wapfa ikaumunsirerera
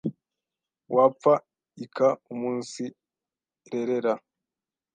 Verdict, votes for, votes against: rejected, 1, 2